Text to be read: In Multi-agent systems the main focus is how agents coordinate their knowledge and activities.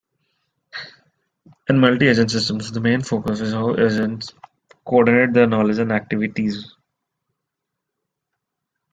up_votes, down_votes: 0, 2